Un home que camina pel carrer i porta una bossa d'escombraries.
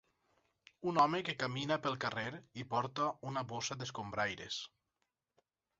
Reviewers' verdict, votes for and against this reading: rejected, 0, 4